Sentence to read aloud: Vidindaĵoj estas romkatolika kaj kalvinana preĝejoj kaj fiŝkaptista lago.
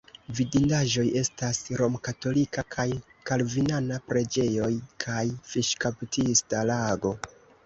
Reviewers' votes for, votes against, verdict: 2, 1, accepted